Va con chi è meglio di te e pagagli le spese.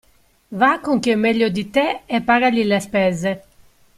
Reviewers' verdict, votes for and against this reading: accepted, 2, 0